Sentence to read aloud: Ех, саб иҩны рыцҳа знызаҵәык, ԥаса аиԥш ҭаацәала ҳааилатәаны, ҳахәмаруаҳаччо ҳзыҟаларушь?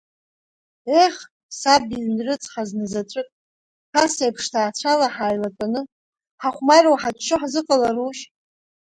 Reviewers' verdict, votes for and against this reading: rejected, 1, 2